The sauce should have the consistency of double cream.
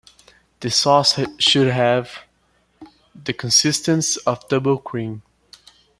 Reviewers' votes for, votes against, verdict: 1, 2, rejected